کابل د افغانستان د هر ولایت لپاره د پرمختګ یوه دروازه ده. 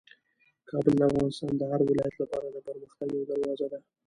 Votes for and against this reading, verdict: 0, 2, rejected